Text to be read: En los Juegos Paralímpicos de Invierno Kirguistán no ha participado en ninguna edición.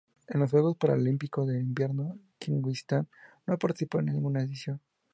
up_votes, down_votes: 2, 0